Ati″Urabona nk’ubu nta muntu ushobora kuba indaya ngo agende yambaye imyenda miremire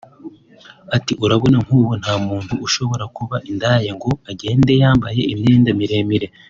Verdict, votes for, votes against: accepted, 3, 0